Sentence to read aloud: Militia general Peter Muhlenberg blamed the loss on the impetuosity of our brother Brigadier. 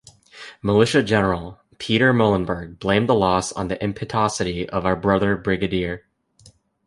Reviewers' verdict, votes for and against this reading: accepted, 2, 0